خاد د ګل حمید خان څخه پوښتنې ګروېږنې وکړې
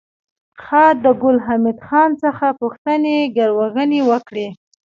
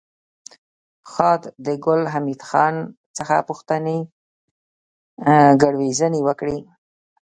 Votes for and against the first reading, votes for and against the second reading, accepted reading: 0, 2, 2, 1, second